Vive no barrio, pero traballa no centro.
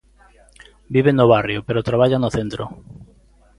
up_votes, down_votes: 2, 0